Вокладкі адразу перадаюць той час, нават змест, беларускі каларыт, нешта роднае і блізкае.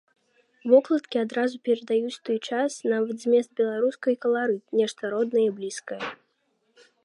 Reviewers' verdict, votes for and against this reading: rejected, 1, 2